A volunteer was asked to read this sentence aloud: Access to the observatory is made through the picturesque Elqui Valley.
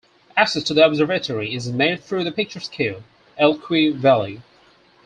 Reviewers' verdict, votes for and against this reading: rejected, 0, 4